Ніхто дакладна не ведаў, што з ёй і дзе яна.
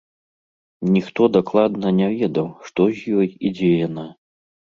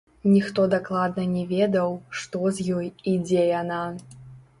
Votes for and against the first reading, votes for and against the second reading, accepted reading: 2, 0, 1, 2, first